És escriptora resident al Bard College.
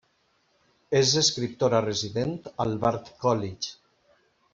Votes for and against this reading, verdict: 2, 0, accepted